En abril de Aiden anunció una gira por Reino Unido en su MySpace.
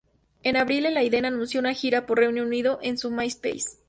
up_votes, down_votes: 2, 2